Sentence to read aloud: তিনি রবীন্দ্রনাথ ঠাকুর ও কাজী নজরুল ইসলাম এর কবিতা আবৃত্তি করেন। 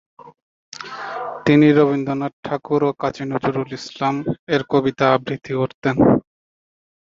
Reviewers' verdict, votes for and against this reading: rejected, 0, 2